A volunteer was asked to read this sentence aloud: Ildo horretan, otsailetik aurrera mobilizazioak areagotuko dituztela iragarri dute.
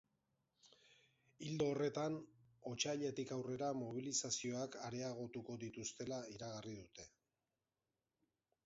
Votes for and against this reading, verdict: 0, 2, rejected